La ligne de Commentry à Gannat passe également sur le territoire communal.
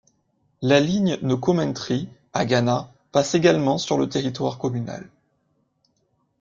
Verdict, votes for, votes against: accepted, 2, 0